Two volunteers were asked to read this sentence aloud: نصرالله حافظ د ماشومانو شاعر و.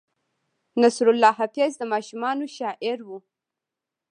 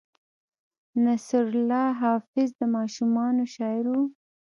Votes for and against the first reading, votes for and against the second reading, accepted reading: 1, 2, 2, 1, second